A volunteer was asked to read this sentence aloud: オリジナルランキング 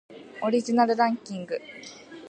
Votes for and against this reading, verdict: 2, 0, accepted